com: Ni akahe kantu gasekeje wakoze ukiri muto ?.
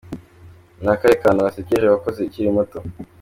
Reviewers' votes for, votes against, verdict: 1, 2, rejected